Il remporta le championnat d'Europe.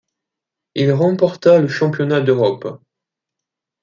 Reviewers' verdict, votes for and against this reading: accepted, 2, 0